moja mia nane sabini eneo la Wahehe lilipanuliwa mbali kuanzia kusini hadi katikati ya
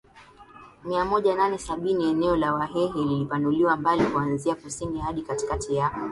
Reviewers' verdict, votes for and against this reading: rejected, 0, 2